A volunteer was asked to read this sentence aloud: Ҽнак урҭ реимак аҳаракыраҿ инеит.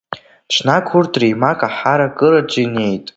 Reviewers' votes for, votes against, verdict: 0, 2, rejected